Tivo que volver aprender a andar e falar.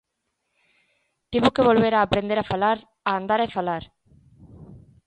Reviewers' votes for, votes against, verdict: 0, 2, rejected